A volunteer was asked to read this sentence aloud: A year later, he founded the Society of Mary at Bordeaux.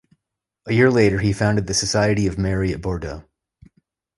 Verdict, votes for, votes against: accepted, 2, 0